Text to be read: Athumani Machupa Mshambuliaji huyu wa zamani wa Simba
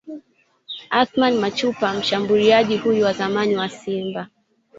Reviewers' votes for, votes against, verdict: 2, 1, accepted